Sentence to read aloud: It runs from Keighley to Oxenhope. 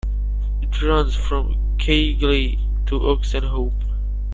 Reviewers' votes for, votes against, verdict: 1, 2, rejected